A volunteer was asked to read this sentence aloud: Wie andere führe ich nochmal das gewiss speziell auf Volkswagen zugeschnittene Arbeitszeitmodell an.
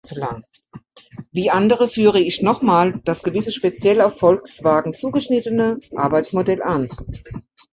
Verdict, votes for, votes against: rejected, 1, 2